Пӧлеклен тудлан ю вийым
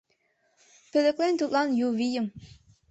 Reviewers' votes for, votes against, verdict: 2, 0, accepted